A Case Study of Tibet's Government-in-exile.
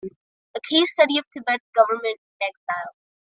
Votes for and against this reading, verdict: 1, 2, rejected